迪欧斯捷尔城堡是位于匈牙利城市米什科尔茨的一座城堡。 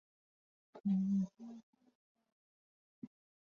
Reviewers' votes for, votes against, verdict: 0, 2, rejected